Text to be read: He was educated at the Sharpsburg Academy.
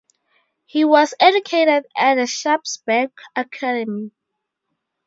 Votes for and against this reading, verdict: 0, 2, rejected